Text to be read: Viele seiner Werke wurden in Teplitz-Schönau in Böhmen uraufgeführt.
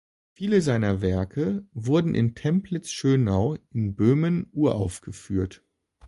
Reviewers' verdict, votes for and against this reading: rejected, 2, 3